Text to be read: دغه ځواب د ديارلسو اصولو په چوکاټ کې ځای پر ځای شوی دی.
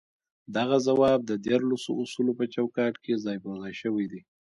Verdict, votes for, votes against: rejected, 1, 2